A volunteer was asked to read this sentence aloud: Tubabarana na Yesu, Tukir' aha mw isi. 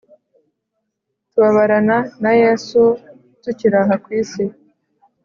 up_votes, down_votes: 3, 0